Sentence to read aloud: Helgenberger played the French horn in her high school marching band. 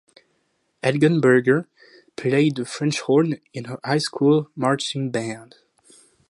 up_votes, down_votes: 2, 0